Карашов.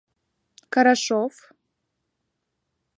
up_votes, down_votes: 2, 0